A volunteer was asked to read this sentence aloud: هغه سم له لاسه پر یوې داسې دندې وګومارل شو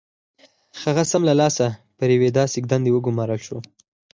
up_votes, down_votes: 4, 0